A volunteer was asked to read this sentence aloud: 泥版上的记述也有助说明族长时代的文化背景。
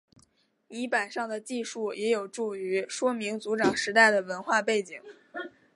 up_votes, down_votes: 0, 2